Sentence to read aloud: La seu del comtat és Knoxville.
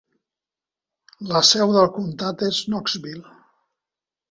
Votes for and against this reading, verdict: 2, 0, accepted